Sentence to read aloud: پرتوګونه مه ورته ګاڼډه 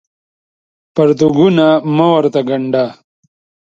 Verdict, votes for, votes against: accepted, 2, 0